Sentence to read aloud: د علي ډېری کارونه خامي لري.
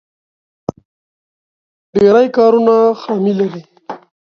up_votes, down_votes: 1, 2